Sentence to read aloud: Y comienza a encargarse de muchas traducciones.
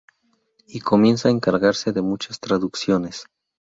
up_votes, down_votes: 2, 0